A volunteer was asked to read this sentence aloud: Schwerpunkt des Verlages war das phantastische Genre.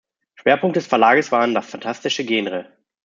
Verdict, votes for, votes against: rejected, 0, 2